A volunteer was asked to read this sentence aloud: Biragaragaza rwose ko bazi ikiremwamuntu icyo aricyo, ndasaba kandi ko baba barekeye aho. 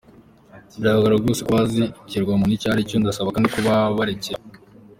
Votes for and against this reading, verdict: 2, 1, accepted